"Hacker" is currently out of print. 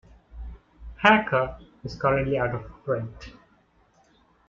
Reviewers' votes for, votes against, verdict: 1, 2, rejected